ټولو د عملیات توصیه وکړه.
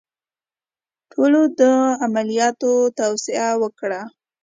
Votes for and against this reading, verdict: 2, 0, accepted